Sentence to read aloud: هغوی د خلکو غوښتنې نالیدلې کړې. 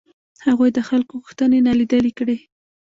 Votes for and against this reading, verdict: 1, 2, rejected